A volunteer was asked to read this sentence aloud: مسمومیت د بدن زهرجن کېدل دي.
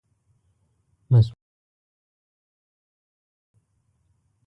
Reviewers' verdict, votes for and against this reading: rejected, 1, 2